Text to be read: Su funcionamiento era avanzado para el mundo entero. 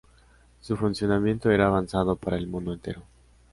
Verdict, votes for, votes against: accepted, 2, 0